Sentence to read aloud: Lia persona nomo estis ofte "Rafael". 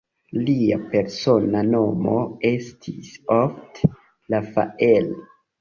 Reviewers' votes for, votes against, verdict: 2, 1, accepted